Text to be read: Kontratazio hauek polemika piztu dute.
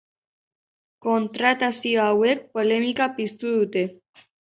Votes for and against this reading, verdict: 2, 0, accepted